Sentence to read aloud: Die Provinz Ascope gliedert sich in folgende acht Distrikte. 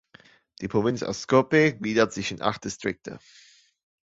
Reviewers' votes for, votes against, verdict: 2, 3, rejected